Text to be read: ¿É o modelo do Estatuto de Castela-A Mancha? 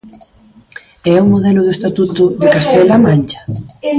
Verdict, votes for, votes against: rejected, 0, 2